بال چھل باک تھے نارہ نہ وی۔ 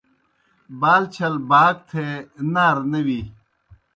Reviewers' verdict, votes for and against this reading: accepted, 2, 0